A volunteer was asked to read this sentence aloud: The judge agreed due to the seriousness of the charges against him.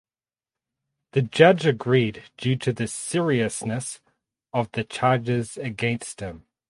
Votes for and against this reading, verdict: 4, 0, accepted